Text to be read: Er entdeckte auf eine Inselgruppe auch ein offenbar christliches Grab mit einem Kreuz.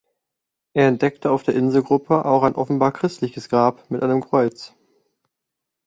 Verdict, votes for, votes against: rejected, 1, 2